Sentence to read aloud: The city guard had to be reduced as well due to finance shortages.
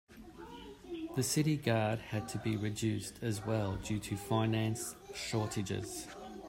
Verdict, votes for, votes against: accepted, 2, 0